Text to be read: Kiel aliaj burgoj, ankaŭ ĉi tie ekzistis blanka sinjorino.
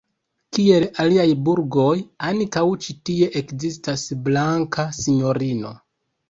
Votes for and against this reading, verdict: 1, 2, rejected